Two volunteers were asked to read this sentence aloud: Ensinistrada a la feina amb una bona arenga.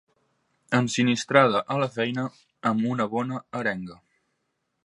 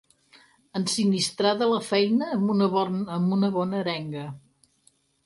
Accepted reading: first